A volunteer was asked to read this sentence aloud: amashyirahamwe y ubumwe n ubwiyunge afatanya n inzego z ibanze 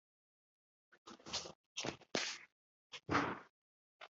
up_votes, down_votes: 0, 2